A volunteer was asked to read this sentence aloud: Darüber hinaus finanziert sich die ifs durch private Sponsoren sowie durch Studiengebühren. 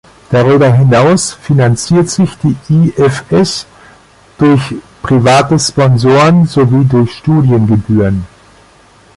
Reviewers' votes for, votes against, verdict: 1, 2, rejected